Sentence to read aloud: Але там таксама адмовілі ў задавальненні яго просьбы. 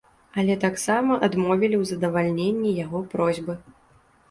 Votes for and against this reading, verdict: 1, 2, rejected